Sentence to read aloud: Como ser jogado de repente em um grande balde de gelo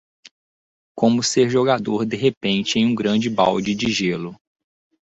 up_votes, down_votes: 0, 2